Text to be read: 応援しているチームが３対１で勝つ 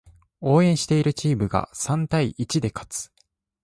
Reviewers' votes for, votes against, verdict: 0, 2, rejected